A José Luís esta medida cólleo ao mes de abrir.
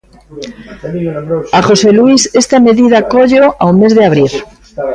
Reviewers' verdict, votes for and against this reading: rejected, 1, 2